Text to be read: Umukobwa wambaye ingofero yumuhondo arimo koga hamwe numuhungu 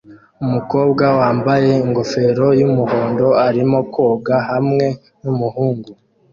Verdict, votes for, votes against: accepted, 2, 0